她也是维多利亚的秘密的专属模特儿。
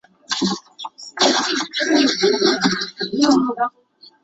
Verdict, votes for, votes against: rejected, 2, 2